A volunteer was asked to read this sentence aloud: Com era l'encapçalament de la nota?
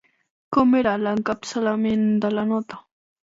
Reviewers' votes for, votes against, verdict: 2, 0, accepted